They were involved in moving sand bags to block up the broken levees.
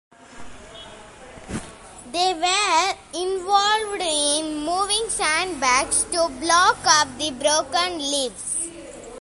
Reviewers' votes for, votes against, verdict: 2, 0, accepted